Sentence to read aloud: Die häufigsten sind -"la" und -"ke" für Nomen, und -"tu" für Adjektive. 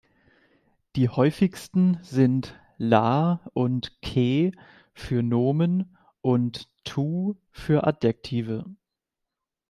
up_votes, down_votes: 2, 0